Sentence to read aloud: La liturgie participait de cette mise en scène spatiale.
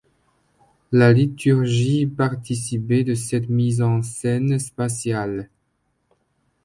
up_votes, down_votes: 2, 0